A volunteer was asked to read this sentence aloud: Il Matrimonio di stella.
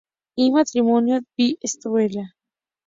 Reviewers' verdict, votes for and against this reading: rejected, 0, 2